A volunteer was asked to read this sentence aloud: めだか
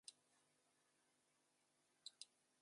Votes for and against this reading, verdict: 0, 2, rejected